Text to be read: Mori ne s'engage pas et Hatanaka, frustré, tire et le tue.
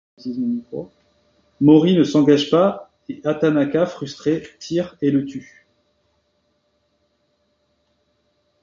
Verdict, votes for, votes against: rejected, 0, 2